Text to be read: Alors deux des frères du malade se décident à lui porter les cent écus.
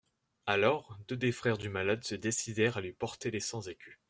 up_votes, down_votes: 0, 2